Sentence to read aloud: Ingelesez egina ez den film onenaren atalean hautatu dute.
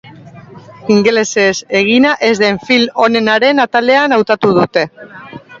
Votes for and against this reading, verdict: 2, 0, accepted